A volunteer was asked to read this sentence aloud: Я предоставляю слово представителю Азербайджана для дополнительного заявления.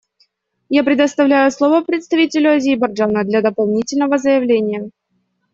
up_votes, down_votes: 0, 2